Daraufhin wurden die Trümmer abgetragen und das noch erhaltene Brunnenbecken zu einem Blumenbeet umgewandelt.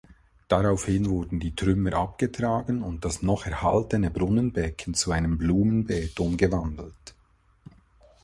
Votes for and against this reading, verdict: 2, 0, accepted